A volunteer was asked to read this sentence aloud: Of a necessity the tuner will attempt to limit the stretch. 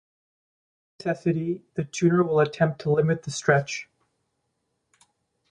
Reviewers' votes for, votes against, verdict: 0, 2, rejected